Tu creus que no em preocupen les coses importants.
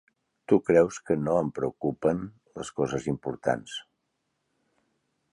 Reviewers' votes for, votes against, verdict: 3, 1, accepted